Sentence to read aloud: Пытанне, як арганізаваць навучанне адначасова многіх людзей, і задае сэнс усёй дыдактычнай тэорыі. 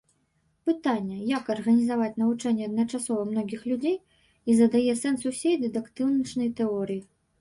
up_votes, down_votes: 2, 3